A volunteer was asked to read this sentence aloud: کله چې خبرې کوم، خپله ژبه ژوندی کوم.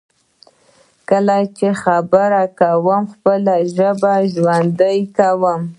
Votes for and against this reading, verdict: 0, 2, rejected